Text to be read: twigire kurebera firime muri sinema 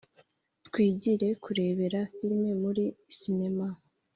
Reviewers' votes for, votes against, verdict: 4, 0, accepted